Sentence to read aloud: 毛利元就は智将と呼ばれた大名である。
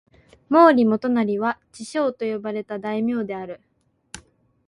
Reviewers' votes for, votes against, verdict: 2, 0, accepted